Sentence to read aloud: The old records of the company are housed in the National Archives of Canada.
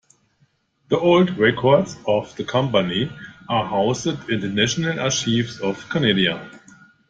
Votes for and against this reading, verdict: 1, 2, rejected